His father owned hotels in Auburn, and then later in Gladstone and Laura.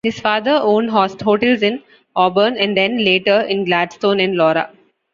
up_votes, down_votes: 0, 2